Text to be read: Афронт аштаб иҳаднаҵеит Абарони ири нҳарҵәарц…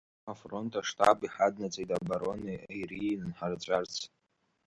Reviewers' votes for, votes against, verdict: 0, 2, rejected